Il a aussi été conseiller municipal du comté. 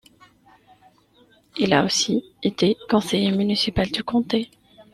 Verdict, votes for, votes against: accepted, 2, 0